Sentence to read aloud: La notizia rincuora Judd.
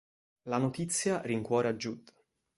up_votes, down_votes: 2, 0